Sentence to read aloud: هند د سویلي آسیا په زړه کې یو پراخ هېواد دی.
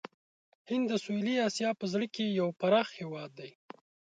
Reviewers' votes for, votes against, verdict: 2, 0, accepted